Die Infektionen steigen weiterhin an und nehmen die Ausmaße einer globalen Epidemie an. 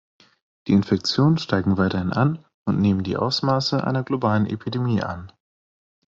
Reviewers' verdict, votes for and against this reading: accepted, 2, 1